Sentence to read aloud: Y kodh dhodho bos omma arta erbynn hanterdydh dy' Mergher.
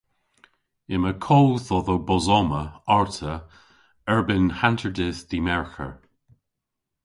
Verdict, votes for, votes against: rejected, 0, 2